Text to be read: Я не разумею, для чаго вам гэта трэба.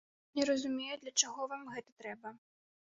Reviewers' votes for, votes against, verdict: 0, 2, rejected